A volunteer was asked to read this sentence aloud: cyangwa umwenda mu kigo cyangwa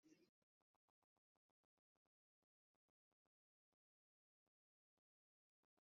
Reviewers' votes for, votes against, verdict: 0, 2, rejected